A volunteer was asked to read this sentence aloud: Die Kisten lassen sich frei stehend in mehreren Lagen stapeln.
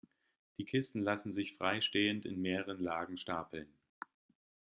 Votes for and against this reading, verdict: 2, 0, accepted